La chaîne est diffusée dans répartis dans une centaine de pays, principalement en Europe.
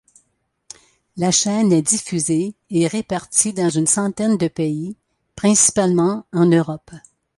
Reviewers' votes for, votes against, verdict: 0, 2, rejected